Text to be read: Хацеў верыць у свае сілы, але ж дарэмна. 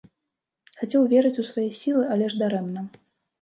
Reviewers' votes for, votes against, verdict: 2, 0, accepted